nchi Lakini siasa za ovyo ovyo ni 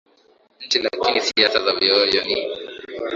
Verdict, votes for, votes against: accepted, 2, 1